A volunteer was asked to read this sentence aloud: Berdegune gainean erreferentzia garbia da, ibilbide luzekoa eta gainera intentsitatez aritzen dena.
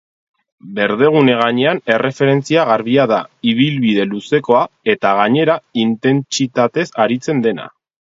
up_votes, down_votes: 0, 2